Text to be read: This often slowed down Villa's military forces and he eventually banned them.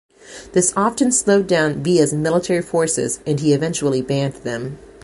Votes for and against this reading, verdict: 2, 0, accepted